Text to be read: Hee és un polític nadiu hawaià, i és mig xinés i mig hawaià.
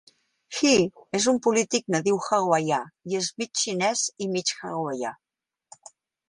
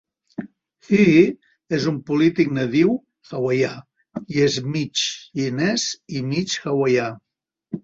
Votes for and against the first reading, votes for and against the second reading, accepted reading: 2, 0, 1, 2, first